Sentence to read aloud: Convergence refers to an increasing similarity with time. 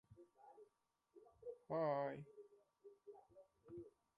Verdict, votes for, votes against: rejected, 1, 2